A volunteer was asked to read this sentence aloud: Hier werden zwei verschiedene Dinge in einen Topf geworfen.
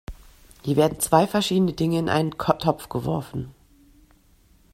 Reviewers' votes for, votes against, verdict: 1, 2, rejected